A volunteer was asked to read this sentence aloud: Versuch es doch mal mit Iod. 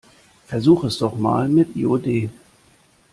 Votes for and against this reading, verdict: 0, 2, rejected